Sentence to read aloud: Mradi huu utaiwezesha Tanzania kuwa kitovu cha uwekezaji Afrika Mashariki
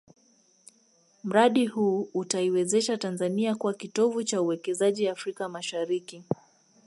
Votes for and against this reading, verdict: 2, 1, accepted